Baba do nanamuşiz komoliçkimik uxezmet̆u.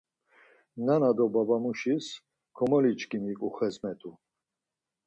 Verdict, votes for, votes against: rejected, 2, 4